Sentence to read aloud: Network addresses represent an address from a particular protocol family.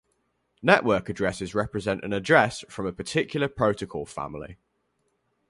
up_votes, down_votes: 2, 2